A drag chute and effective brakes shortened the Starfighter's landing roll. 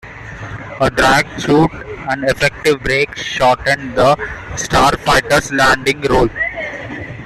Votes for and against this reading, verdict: 2, 0, accepted